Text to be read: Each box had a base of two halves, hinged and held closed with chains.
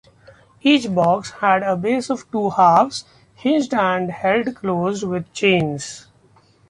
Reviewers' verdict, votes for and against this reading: accepted, 2, 0